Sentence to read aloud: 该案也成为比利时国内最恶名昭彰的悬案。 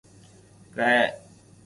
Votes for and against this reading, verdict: 0, 4, rejected